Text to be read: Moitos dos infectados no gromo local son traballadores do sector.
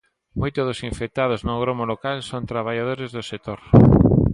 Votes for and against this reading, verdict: 1, 2, rejected